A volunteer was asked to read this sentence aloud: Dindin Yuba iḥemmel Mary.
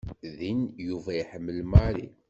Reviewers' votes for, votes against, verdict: 1, 2, rejected